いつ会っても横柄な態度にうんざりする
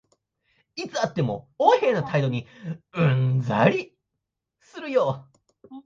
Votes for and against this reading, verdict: 1, 2, rejected